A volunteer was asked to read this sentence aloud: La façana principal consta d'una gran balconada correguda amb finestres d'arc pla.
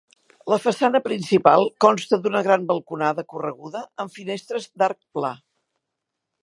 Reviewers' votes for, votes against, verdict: 4, 0, accepted